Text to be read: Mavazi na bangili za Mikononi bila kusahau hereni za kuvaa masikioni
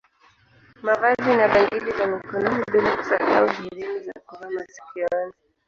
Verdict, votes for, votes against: rejected, 0, 2